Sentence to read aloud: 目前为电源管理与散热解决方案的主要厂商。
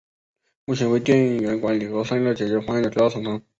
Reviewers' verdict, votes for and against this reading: rejected, 1, 2